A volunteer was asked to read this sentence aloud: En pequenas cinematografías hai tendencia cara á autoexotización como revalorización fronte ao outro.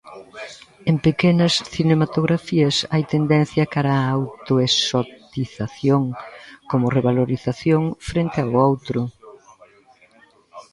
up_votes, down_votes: 0, 2